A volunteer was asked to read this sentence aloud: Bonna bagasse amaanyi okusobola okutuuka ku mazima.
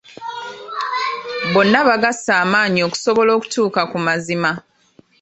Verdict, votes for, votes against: accepted, 2, 0